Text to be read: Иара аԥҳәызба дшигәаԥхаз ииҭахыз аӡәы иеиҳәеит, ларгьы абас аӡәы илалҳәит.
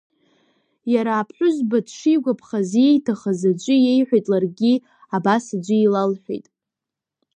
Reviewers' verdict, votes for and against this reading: rejected, 0, 2